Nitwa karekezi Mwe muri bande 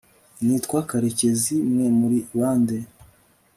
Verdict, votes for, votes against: accepted, 3, 0